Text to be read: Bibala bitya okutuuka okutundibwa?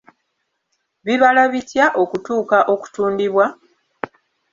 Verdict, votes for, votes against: accepted, 2, 0